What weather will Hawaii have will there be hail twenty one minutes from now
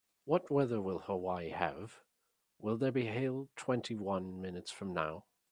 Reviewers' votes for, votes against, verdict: 4, 1, accepted